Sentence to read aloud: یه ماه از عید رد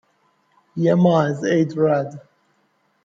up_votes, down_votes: 2, 1